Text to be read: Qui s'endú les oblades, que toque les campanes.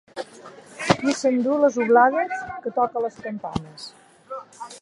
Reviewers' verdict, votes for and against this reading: accepted, 2, 1